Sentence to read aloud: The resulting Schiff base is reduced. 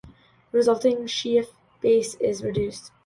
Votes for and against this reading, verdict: 2, 1, accepted